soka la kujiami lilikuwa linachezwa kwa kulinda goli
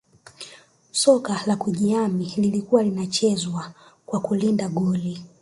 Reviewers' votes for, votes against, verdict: 1, 2, rejected